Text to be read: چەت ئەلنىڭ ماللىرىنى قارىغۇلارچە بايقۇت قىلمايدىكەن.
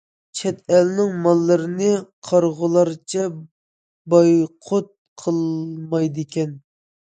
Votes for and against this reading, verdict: 2, 0, accepted